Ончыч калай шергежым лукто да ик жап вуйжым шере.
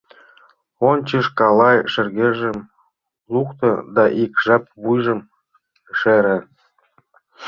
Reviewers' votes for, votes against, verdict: 2, 0, accepted